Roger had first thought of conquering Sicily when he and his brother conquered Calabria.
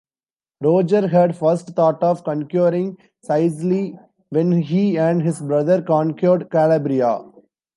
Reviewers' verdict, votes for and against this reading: rejected, 0, 2